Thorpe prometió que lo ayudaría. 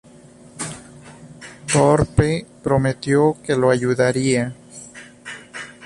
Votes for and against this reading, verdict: 0, 2, rejected